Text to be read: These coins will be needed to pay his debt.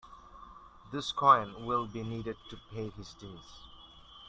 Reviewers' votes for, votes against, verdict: 2, 1, accepted